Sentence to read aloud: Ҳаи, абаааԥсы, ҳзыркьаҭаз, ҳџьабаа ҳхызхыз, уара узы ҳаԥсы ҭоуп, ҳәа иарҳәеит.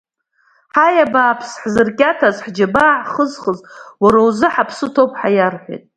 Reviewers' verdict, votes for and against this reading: accepted, 2, 0